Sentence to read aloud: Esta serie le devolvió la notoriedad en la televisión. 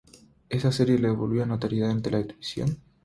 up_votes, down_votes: 0, 3